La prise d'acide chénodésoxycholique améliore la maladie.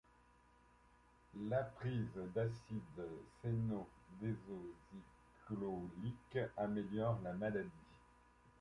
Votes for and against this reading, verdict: 0, 2, rejected